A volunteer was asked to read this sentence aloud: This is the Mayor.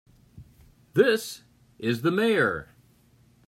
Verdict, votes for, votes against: accepted, 3, 0